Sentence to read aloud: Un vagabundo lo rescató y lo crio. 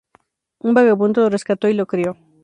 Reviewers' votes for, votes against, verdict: 2, 0, accepted